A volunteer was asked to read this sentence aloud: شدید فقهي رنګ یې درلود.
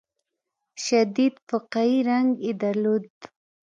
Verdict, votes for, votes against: rejected, 1, 2